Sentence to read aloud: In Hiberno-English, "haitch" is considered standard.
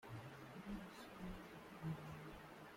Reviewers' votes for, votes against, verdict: 0, 2, rejected